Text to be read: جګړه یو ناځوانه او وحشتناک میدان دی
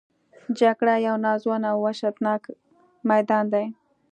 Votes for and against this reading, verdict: 2, 0, accepted